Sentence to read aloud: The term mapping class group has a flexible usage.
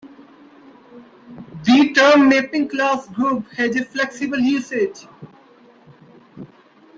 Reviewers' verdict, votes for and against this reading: accepted, 2, 0